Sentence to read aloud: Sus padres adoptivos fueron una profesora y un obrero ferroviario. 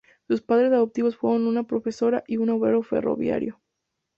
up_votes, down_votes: 4, 0